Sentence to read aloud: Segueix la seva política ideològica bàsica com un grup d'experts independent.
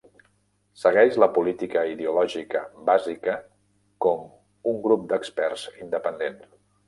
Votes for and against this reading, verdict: 0, 2, rejected